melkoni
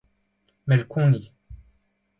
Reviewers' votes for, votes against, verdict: 2, 0, accepted